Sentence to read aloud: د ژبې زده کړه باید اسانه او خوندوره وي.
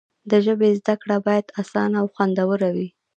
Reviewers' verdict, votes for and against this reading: rejected, 0, 2